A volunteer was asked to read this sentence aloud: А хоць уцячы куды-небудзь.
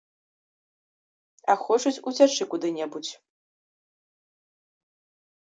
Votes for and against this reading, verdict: 0, 2, rejected